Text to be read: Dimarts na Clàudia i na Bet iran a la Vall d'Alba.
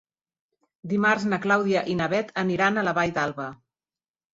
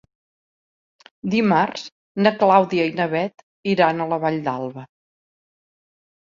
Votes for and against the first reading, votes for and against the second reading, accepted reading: 1, 2, 3, 0, second